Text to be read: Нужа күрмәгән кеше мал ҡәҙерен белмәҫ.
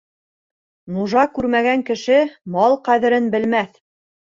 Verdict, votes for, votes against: accepted, 2, 0